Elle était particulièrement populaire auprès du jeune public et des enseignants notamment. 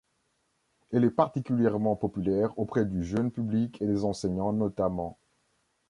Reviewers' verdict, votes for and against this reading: rejected, 0, 3